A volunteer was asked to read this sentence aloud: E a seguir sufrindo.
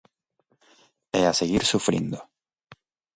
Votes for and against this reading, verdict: 2, 0, accepted